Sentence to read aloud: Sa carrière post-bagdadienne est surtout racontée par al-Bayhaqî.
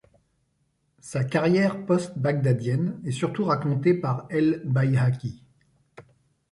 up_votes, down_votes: 0, 2